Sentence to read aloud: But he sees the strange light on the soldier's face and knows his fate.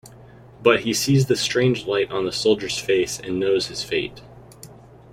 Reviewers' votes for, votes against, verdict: 2, 0, accepted